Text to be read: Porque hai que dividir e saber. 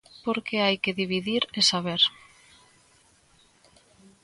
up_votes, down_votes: 2, 0